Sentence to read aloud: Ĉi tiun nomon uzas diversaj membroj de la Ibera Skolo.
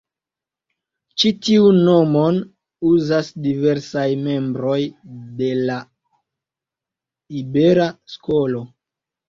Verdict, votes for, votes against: accepted, 2, 0